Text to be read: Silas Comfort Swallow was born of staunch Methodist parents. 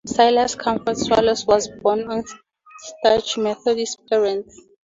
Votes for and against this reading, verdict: 4, 0, accepted